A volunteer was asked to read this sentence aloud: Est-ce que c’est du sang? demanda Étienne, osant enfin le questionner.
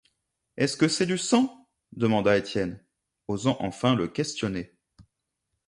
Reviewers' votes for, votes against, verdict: 2, 0, accepted